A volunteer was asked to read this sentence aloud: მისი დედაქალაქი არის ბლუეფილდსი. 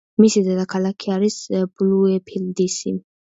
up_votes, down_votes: 0, 2